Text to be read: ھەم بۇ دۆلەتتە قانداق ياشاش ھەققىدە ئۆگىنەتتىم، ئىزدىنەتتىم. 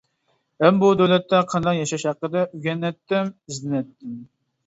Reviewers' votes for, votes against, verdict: 0, 2, rejected